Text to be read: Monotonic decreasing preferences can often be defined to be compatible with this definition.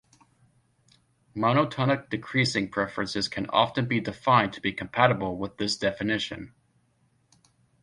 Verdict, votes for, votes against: accepted, 2, 0